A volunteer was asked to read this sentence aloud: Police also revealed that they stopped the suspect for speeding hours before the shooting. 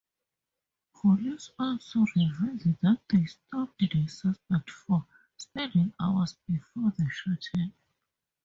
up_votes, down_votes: 0, 2